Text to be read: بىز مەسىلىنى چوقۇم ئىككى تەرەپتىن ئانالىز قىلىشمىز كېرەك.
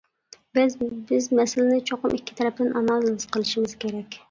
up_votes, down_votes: 0, 2